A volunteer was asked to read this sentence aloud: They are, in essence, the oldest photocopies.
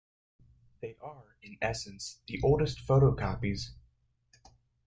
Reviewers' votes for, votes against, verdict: 2, 0, accepted